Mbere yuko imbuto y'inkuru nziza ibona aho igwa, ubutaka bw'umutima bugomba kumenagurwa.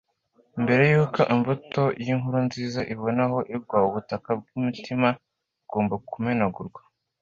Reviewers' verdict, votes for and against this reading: accepted, 2, 0